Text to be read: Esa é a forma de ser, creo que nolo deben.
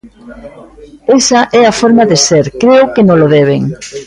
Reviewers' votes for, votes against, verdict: 0, 2, rejected